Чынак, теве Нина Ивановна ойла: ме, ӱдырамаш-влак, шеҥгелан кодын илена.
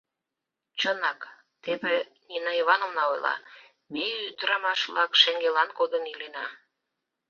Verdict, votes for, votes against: accepted, 2, 0